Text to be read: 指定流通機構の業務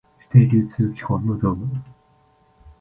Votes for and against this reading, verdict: 0, 2, rejected